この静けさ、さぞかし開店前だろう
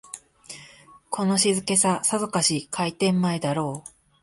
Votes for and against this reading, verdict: 2, 0, accepted